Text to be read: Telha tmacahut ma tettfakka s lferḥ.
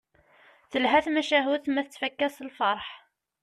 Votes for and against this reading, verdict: 2, 0, accepted